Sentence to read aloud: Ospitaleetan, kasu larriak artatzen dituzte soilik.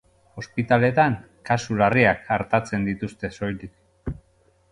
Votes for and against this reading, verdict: 2, 0, accepted